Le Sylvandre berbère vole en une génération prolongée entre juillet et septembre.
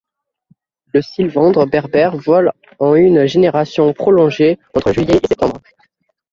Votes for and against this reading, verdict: 1, 2, rejected